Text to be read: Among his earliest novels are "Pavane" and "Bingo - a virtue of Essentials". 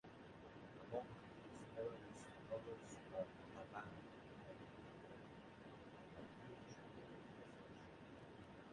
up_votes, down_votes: 0, 2